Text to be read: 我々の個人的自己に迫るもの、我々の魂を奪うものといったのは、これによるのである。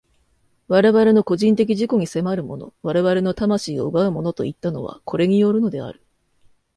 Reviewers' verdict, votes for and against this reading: accepted, 2, 0